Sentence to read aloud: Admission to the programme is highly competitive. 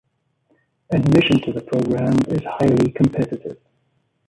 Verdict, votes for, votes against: accepted, 2, 1